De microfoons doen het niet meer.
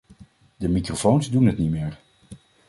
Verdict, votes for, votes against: accepted, 2, 0